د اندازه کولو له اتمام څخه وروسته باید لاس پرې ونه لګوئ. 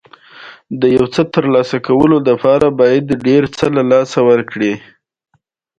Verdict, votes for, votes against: rejected, 1, 2